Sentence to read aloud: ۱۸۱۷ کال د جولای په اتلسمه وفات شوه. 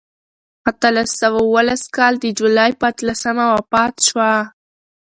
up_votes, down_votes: 0, 2